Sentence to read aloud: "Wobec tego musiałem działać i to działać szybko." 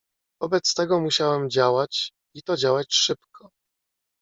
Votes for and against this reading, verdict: 1, 2, rejected